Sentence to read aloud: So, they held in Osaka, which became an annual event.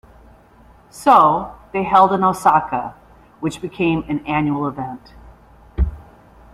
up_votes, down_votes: 2, 0